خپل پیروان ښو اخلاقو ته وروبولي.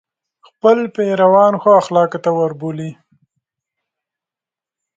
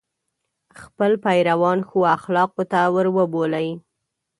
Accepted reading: first